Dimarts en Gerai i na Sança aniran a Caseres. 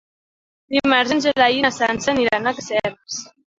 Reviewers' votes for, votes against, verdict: 2, 1, accepted